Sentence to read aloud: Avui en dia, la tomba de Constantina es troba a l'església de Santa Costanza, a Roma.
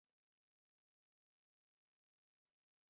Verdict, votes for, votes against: rejected, 0, 2